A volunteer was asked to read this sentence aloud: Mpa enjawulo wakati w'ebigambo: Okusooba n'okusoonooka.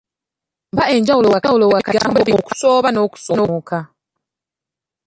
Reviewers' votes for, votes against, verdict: 0, 2, rejected